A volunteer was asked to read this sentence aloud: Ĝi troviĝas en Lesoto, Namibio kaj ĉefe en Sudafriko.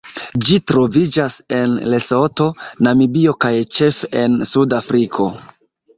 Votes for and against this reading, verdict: 1, 2, rejected